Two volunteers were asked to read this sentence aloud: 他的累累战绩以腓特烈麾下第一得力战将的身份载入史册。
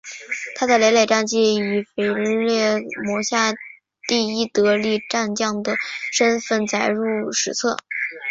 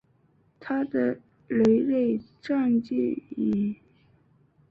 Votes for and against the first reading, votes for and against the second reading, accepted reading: 7, 0, 0, 2, first